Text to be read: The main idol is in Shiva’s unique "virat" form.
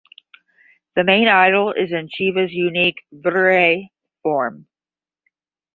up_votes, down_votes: 5, 10